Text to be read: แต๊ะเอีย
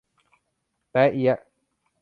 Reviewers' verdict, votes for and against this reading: rejected, 0, 2